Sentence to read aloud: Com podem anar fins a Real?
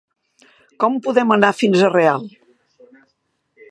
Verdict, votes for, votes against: accepted, 2, 0